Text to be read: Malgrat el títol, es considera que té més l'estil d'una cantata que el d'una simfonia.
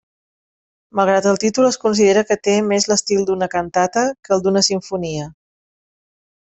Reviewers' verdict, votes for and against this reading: accepted, 3, 0